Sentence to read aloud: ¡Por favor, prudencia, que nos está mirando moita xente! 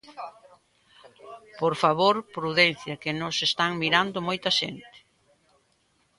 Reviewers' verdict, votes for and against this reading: rejected, 0, 2